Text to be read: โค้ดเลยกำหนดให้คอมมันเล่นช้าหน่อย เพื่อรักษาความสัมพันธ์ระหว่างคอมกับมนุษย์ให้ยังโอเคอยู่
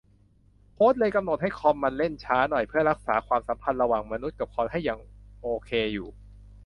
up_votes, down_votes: 0, 2